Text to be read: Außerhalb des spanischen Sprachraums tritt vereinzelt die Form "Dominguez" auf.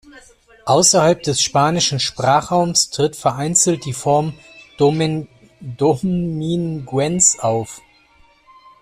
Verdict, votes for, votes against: rejected, 0, 2